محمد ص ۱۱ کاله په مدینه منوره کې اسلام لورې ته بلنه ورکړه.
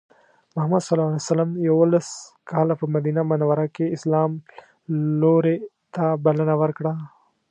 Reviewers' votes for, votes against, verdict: 0, 2, rejected